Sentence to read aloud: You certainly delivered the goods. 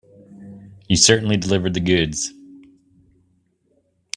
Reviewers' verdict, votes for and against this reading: accepted, 2, 0